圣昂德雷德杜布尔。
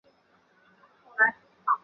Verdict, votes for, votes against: rejected, 0, 2